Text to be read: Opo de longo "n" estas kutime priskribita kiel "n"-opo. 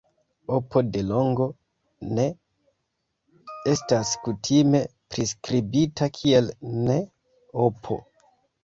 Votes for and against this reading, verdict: 1, 2, rejected